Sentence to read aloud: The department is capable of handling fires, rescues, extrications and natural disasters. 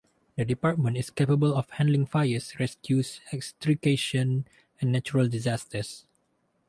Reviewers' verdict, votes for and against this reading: rejected, 2, 4